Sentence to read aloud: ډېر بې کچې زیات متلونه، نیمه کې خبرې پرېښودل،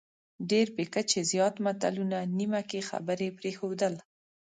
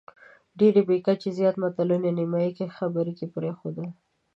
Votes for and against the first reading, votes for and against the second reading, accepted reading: 2, 0, 1, 2, first